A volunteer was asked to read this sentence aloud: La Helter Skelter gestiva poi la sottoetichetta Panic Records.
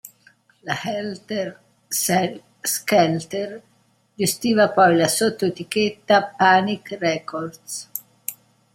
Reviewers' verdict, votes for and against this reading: rejected, 0, 2